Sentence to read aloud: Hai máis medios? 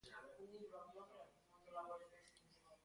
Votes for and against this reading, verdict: 0, 2, rejected